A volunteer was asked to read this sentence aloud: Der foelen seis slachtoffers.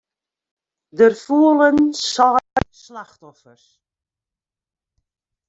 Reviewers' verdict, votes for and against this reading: rejected, 0, 2